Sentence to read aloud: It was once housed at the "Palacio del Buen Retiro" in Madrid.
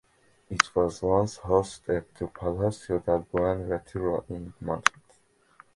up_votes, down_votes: 2, 1